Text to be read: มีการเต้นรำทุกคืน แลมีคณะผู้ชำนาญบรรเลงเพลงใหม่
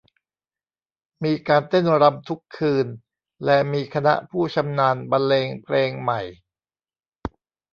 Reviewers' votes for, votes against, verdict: 1, 2, rejected